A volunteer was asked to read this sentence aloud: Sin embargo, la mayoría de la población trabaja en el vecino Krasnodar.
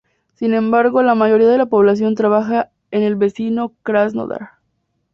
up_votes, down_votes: 4, 0